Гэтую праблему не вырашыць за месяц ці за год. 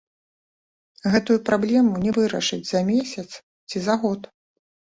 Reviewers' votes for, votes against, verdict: 2, 0, accepted